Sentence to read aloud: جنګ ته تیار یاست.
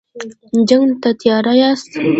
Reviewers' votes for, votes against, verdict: 0, 2, rejected